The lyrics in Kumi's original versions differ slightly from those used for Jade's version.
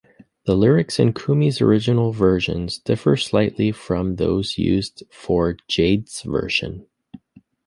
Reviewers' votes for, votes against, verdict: 2, 0, accepted